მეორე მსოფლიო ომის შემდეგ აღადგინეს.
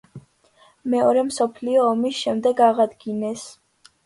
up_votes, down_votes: 2, 0